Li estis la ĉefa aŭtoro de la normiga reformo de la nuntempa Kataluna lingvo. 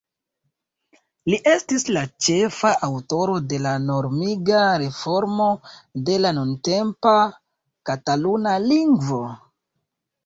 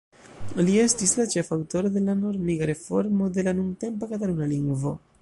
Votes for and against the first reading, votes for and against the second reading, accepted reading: 2, 0, 0, 2, first